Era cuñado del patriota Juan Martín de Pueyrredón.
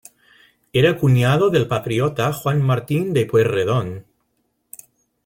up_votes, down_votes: 2, 0